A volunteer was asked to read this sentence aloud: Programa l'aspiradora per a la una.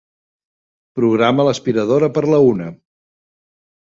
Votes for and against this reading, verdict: 0, 2, rejected